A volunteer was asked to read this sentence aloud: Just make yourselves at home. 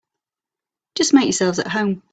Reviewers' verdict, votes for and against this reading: accepted, 2, 0